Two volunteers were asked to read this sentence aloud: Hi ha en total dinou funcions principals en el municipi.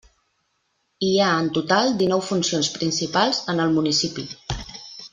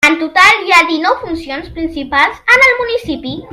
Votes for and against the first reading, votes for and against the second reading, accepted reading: 3, 0, 0, 2, first